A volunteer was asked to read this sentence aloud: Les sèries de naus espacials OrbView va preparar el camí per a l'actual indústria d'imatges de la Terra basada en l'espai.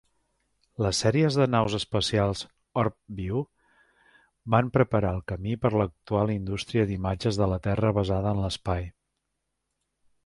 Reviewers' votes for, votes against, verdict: 1, 3, rejected